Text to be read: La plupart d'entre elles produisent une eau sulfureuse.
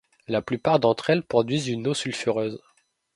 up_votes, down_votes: 1, 2